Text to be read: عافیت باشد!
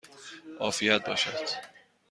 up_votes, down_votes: 2, 0